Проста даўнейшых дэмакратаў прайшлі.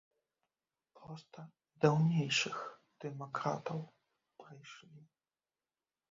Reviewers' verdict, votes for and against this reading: rejected, 0, 2